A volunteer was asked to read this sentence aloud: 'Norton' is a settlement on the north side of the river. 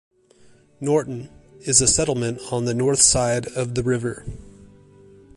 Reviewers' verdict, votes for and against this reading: accepted, 2, 0